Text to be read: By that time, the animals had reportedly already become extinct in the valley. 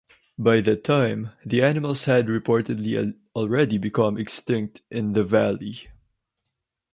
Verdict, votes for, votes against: rejected, 2, 2